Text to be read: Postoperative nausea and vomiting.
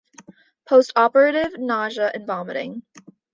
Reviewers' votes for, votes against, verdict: 2, 0, accepted